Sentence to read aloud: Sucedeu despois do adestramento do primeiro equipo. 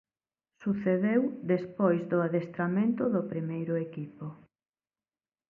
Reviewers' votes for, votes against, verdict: 2, 0, accepted